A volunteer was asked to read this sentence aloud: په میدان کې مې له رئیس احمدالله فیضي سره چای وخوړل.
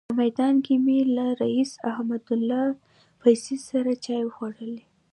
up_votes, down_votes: 2, 0